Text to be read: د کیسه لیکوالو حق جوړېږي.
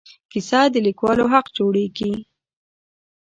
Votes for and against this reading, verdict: 0, 2, rejected